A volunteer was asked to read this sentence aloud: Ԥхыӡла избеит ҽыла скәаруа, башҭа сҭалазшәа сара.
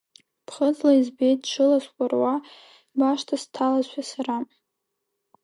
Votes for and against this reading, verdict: 2, 1, accepted